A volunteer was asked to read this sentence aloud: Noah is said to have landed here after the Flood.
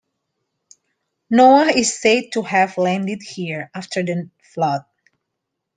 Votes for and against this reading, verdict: 2, 1, accepted